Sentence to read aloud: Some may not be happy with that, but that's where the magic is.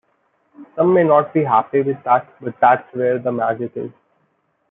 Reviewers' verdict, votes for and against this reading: accepted, 2, 0